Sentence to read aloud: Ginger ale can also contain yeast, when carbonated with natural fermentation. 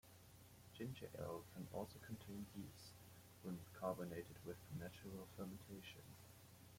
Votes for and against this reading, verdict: 0, 2, rejected